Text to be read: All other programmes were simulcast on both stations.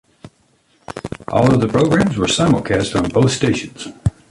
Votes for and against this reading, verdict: 2, 0, accepted